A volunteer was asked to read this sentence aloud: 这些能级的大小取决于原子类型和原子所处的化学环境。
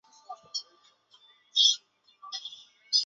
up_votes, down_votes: 2, 0